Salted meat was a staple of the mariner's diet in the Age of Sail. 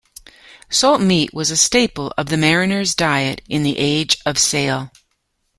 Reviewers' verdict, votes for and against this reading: rejected, 0, 2